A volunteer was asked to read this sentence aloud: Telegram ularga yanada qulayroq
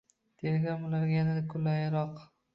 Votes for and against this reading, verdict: 0, 2, rejected